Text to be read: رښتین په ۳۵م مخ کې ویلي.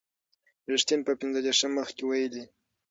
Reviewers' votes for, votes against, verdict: 0, 2, rejected